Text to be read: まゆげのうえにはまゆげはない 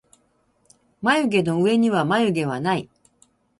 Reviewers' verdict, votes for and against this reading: rejected, 0, 2